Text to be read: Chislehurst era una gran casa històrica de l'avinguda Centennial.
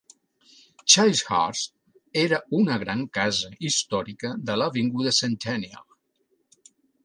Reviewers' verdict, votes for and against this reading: accepted, 2, 0